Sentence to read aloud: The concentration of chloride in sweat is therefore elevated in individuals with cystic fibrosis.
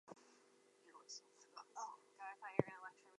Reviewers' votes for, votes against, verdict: 0, 2, rejected